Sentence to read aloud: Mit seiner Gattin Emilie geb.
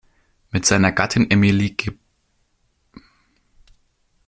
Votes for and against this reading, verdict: 0, 2, rejected